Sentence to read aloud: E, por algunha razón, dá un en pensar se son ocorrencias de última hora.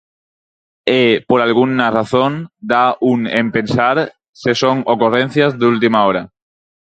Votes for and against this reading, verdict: 0, 4, rejected